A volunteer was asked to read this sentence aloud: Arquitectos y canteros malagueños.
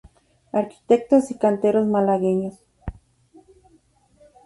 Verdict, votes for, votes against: accepted, 2, 0